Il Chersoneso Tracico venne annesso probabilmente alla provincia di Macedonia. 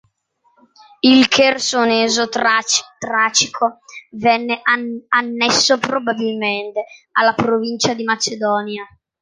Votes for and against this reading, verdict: 0, 2, rejected